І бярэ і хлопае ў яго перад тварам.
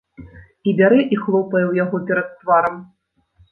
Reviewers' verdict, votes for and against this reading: accepted, 2, 0